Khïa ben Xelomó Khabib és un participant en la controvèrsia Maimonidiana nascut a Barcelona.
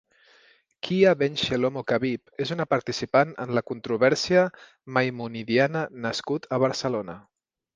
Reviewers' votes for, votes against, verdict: 0, 2, rejected